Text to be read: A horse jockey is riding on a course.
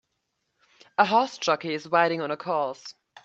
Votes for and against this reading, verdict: 2, 1, accepted